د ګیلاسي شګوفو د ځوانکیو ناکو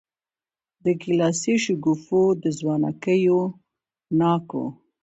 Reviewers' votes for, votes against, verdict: 2, 0, accepted